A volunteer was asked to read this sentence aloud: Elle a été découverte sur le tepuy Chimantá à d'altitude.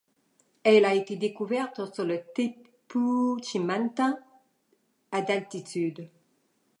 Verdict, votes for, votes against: rejected, 1, 2